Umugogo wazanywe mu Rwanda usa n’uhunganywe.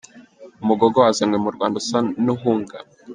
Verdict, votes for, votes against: rejected, 0, 2